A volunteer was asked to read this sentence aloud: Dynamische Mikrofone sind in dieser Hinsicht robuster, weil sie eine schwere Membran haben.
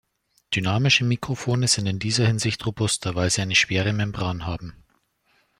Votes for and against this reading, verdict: 2, 0, accepted